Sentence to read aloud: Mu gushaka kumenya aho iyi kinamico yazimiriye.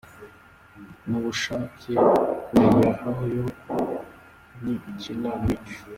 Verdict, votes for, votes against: rejected, 0, 2